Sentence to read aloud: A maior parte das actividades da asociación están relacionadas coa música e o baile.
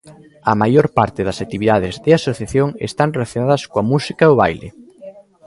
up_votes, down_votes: 0, 2